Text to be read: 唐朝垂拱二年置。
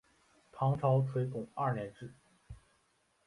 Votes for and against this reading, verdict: 3, 0, accepted